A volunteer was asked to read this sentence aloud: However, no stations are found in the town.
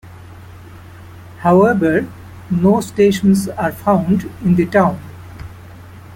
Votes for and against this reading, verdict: 2, 1, accepted